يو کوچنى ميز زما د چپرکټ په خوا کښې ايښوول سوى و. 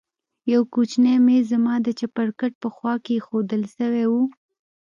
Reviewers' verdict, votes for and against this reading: accepted, 2, 0